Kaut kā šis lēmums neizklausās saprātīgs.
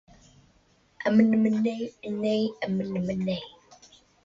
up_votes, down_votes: 0, 2